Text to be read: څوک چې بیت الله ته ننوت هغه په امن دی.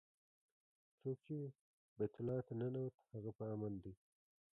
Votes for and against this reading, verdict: 1, 2, rejected